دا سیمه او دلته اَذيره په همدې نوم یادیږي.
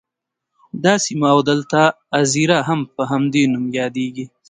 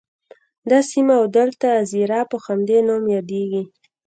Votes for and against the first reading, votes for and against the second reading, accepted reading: 2, 1, 1, 2, first